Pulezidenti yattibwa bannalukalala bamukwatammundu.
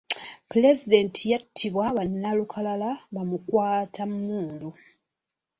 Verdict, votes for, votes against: accepted, 2, 0